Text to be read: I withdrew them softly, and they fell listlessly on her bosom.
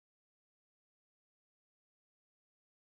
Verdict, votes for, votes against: rejected, 0, 2